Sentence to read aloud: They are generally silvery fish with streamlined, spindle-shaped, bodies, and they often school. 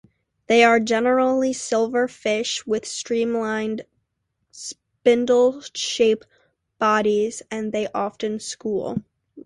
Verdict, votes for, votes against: accepted, 2, 1